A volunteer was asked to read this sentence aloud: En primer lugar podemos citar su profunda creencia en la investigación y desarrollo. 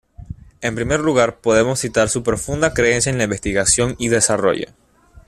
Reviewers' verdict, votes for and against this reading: accepted, 2, 0